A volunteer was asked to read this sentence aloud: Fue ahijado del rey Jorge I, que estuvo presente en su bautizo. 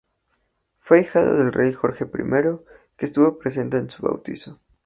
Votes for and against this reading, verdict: 4, 0, accepted